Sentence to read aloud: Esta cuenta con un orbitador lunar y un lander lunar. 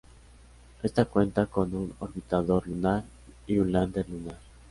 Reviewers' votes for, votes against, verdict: 2, 0, accepted